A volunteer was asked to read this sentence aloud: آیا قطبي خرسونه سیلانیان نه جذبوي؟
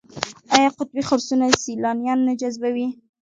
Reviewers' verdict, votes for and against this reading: accepted, 2, 0